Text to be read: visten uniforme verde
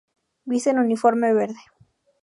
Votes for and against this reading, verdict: 2, 0, accepted